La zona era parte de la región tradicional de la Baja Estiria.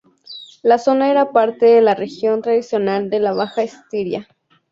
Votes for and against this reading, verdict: 2, 0, accepted